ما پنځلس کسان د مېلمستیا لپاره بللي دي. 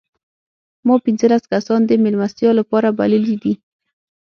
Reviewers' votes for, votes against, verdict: 6, 0, accepted